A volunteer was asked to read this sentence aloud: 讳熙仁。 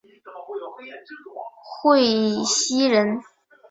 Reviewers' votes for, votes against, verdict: 1, 3, rejected